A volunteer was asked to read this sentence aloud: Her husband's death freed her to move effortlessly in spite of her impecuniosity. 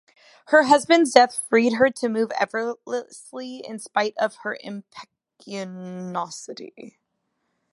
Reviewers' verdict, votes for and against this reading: rejected, 0, 2